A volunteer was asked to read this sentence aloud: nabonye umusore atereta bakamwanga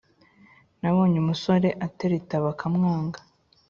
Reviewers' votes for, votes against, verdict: 3, 0, accepted